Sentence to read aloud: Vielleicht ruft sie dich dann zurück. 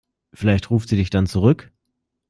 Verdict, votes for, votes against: accepted, 2, 0